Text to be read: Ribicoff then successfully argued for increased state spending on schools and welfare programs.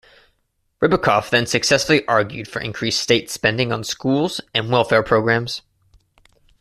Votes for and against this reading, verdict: 2, 0, accepted